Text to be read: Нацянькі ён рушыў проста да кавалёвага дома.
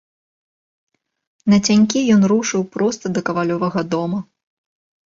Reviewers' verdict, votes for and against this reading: accepted, 2, 0